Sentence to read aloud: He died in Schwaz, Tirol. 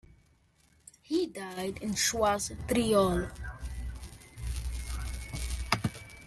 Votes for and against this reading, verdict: 1, 2, rejected